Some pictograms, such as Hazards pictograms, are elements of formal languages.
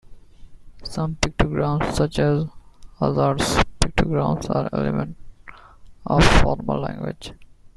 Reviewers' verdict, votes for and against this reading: rejected, 1, 2